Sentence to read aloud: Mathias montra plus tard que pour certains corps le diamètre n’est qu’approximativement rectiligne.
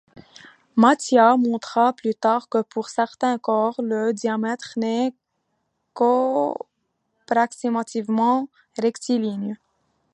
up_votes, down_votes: 1, 2